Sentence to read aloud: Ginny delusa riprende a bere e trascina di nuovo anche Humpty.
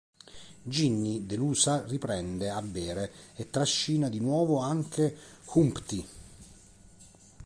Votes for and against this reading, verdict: 0, 2, rejected